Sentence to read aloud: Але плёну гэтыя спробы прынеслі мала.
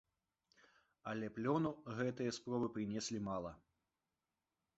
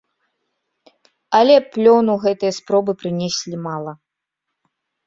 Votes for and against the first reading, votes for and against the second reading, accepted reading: 1, 2, 2, 0, second